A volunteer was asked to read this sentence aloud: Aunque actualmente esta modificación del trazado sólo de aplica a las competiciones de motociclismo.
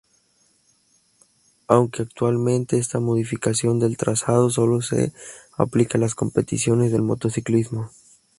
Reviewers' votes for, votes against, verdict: 2, 0, accepted